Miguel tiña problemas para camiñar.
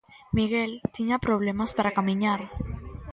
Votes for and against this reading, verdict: 1, 2, rejected